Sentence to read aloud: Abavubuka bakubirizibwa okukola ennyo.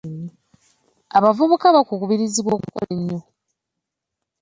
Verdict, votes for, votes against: accepted, 2, 0